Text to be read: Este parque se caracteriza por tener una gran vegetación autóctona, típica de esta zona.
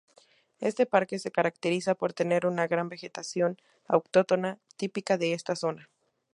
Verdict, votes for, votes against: rejected, 2, 4